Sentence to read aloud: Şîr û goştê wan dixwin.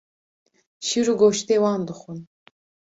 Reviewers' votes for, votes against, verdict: 2, 0, accepted